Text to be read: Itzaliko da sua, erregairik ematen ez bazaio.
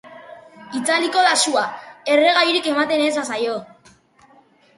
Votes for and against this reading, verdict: 3, 0, accepted